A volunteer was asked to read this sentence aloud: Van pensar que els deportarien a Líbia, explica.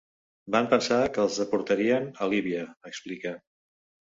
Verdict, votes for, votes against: accepted, 2, 0